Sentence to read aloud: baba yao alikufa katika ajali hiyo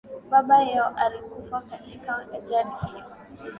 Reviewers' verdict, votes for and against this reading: accepted, 2, 1